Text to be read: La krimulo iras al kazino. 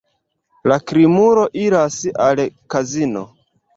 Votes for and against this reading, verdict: 2, 1, accepted